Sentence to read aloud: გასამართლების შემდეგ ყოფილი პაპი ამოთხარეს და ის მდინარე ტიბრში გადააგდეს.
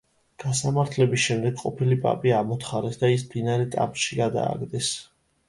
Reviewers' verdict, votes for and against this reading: rejected, 0, 2